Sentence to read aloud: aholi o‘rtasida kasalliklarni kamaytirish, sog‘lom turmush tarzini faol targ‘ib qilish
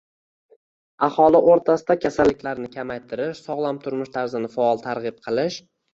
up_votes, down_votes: 2, 1